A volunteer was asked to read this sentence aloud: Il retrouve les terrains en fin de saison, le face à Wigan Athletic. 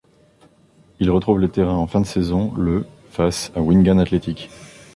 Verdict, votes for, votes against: rejected, 1, 2